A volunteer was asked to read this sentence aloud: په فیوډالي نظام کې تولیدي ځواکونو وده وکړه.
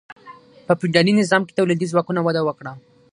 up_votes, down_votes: 3, 6